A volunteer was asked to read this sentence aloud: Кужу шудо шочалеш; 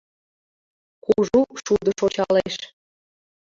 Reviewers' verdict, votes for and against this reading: rejected, 0, 2